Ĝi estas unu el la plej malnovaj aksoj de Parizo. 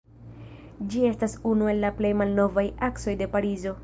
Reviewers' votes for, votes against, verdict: 1, 2, rejected